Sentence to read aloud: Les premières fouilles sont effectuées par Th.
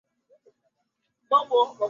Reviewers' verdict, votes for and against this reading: rejected, 0, 2